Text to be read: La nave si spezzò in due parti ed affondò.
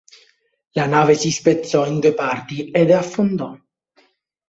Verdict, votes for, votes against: accepted, 2, 0